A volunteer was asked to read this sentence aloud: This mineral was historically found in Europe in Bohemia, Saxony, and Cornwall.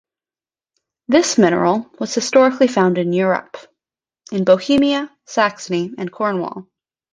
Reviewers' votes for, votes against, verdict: 2, 0, accepted